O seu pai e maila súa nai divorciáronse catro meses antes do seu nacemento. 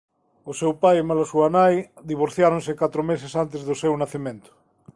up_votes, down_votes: 2, 0